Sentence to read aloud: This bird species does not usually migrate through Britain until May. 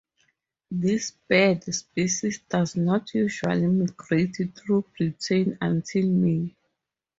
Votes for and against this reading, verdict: 0, 2, rejected